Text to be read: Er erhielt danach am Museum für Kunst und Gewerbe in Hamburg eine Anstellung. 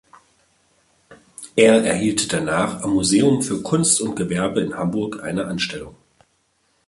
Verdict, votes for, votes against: accepted, 2, 1